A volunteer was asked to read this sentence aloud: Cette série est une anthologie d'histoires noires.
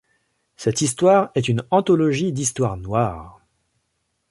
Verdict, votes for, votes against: rejected, 0, 3